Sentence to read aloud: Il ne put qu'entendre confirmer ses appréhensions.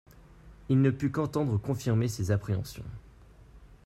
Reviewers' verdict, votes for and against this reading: accepted, 2, 0